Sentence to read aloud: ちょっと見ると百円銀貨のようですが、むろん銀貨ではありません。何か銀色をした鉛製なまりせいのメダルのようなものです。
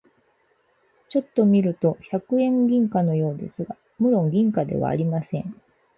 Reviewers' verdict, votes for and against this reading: rejected, 0, 4